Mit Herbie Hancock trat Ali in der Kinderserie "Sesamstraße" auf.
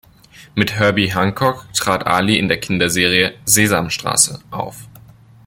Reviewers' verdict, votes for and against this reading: accepted, 2, 0